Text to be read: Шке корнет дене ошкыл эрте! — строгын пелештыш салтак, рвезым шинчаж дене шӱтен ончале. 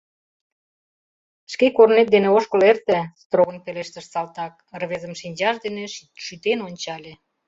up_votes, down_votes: 0, 2